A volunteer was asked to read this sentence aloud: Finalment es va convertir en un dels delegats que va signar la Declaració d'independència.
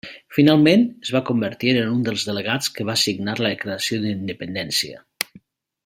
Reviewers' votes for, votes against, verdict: 2, 0, accepted